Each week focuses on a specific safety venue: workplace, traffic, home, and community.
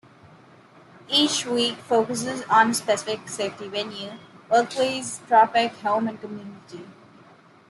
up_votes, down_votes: 2, 1